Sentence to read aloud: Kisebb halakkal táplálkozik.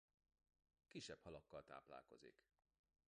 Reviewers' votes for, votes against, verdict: 0, 2, rejected